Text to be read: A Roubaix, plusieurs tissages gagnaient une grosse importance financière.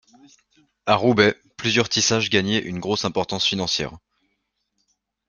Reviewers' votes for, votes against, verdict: 1, 2, rejected